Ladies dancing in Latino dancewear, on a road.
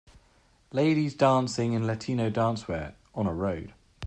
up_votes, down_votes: 2, 0